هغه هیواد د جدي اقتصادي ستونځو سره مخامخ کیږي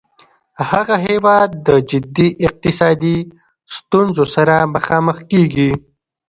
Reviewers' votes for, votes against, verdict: 2, 0, accepted